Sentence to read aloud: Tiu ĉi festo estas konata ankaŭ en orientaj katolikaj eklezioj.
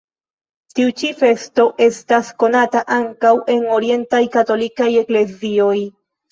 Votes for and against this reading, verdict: 1, 2, rejected